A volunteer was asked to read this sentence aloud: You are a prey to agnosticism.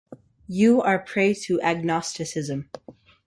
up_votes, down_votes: 1, 2